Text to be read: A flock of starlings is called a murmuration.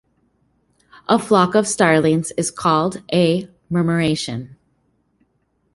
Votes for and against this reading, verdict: 2, 0, accepted